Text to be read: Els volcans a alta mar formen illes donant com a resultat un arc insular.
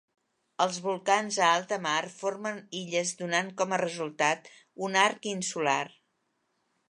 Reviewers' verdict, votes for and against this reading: accepted, 2, 0